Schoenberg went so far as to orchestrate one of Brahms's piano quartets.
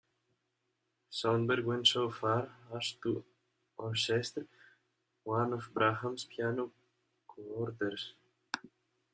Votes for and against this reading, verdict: 0, 2, rejected